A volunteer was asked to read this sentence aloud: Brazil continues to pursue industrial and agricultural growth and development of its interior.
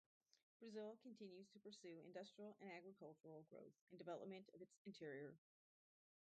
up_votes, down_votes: 0, 4